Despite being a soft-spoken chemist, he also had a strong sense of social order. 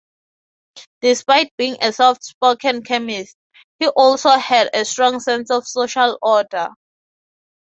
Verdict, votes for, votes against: accepted, 3, 0